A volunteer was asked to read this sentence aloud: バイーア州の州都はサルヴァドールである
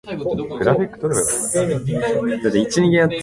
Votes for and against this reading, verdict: 0, 2, rejected